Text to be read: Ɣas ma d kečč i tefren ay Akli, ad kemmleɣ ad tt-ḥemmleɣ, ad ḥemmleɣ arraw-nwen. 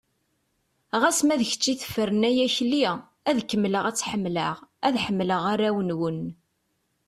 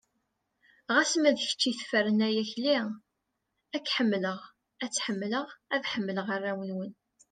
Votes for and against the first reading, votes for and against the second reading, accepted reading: 2, 0, 1, 2, first